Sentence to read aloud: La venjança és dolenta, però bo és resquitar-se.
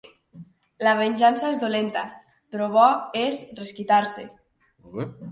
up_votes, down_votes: 2, 0